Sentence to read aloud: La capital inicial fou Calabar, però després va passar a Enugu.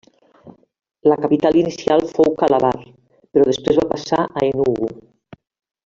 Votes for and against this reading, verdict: 1, 2, rejected